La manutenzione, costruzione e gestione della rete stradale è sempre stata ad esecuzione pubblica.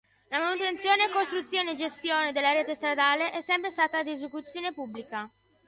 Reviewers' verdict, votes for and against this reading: accepted, 2, 0